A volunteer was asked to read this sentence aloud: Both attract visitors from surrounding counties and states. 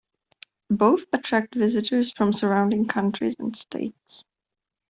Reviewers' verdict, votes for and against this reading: rejected, 0, 2